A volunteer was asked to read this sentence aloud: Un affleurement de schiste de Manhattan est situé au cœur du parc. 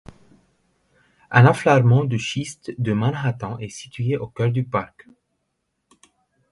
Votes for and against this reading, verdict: 1, 2, rejected